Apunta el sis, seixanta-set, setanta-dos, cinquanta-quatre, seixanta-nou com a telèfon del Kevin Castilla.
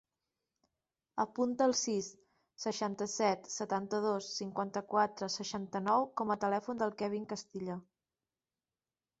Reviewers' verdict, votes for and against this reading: accepted, 3, 1